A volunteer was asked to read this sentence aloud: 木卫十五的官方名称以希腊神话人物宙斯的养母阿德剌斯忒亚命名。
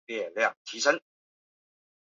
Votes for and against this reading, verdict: 0, 5, rejected